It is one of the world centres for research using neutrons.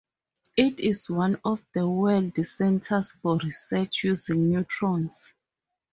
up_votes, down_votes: 4, 0